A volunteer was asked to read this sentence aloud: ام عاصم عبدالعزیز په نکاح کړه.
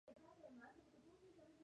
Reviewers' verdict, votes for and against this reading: accepted, 3, 0